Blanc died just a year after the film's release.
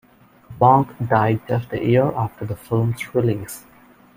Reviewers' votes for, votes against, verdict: 2, 0, accepted